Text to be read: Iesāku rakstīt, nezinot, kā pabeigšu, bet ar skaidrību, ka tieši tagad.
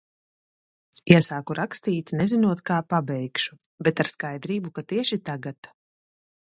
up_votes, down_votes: 2, 0